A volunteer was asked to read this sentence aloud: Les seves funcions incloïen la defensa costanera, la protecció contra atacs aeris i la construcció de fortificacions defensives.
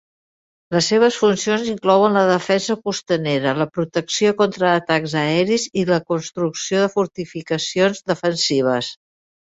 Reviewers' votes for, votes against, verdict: 0, 2, rejected